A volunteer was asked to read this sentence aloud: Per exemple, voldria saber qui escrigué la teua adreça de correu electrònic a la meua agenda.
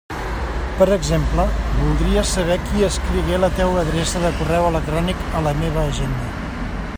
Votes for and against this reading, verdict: 1, 2, rejected